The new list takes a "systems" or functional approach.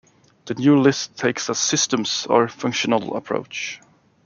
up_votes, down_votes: 2, 0